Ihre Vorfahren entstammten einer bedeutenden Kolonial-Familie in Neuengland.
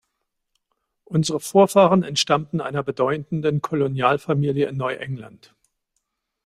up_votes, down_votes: 0, 2